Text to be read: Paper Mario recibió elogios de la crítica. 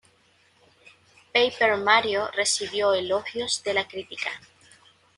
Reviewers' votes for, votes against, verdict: 1, 2, rejected